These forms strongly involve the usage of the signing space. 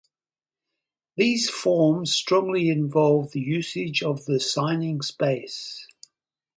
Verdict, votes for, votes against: accepted, 2, 0